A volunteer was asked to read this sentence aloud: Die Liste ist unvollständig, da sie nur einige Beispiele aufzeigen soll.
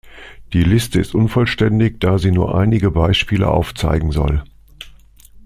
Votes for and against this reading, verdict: 2, 0, accepted